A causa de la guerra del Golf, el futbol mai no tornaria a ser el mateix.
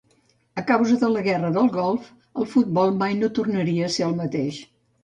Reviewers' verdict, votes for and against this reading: accepted, 2, 0